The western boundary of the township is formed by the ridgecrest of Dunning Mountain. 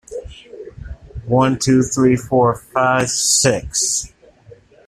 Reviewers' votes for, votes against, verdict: 0, 2, rejected